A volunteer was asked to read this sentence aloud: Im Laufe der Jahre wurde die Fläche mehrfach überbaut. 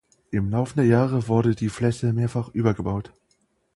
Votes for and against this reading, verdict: 0, 2, rejected